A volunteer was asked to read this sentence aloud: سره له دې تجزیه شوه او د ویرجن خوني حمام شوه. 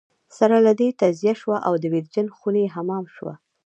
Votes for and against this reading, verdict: 1, 2, rejected